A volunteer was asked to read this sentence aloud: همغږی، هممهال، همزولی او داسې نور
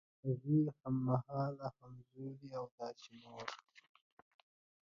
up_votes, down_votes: 1, 2